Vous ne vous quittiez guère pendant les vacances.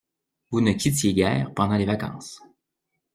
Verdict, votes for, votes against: rejected, 0, 2